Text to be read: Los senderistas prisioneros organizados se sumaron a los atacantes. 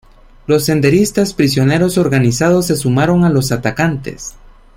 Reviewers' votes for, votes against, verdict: 2, 0, accepted